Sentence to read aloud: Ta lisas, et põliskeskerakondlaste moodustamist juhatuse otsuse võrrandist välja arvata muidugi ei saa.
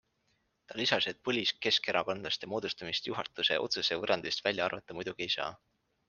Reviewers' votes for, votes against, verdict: 2, 0, accepted